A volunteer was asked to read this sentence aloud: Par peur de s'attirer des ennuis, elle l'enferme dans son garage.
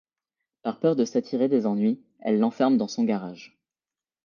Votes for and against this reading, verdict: 2, 0, accepted